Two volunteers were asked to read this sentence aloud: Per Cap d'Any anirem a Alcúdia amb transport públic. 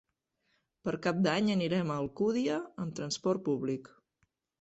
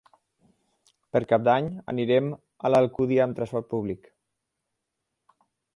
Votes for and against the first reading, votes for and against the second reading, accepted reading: 3, 0, 0, 4, first